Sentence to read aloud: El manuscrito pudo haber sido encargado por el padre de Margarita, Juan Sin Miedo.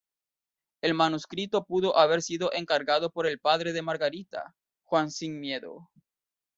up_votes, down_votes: 0, 2